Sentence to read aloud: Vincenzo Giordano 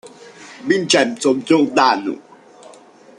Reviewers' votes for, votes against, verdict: 0, 2, rejected